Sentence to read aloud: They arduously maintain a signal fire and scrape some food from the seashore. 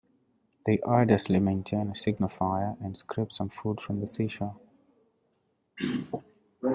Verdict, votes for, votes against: rejected, 0, 2